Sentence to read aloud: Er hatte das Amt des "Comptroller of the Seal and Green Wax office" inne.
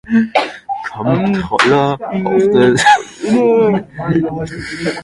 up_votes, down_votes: 0, 2